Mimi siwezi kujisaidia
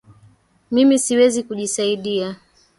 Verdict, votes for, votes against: accepted, 2, 1